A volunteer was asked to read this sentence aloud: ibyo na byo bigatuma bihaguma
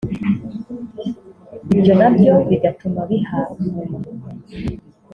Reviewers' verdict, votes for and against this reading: rejected, 0, 2